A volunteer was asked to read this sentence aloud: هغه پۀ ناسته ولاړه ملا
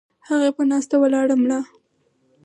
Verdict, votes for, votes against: accepted, 4, 2